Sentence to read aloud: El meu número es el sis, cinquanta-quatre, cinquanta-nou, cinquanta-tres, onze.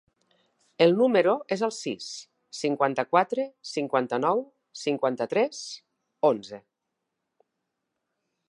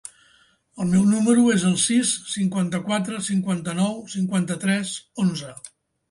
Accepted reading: second